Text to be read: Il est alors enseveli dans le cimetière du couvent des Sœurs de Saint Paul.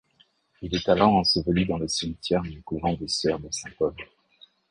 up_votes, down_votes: 1, 2